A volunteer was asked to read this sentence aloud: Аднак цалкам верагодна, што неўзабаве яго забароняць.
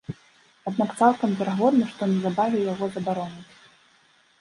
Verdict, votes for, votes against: rejected, 1, 2